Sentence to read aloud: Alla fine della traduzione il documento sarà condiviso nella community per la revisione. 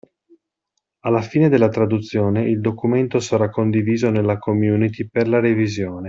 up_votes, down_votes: 2, 0